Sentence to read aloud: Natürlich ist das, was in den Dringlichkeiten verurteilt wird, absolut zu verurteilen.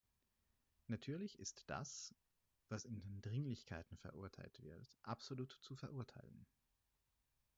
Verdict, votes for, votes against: rejected, 0, 4